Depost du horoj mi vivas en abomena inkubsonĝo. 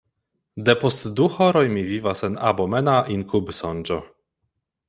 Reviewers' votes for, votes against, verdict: 2, 0, accepted